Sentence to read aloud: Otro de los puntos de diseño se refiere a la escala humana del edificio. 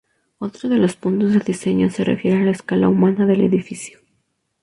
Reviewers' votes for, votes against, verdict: 2, 0, accepted